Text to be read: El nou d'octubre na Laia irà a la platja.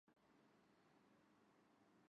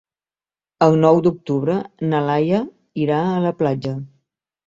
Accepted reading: second